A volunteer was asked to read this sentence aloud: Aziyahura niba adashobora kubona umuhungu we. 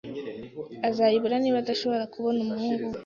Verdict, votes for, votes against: rejected, 1, 2